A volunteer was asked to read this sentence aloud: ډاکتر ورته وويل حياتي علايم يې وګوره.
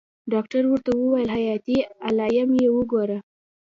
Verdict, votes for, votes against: accepted, 2, 0